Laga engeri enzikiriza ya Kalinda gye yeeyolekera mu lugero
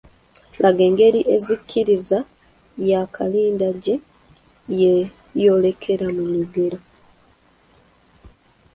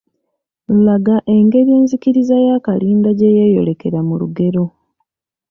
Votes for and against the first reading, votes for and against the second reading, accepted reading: 0, 2, 2, 0, second